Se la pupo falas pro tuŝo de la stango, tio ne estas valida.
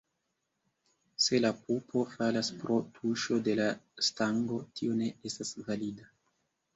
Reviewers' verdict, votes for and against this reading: accepted, 2, 1